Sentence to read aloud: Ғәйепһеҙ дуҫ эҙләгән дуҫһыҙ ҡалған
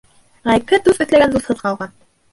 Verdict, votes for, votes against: rejected, 0, 2